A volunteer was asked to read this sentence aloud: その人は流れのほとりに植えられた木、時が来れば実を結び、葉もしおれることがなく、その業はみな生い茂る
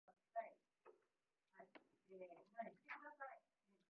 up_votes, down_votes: 0, 2